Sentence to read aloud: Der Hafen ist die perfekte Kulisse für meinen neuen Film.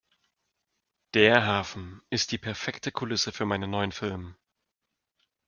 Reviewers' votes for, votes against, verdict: 2, 0, accepted